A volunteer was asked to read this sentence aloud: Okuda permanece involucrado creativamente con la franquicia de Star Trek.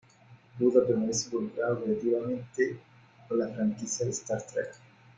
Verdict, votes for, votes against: rejected, 0, 3